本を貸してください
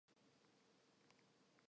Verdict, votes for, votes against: rejected, 0, 2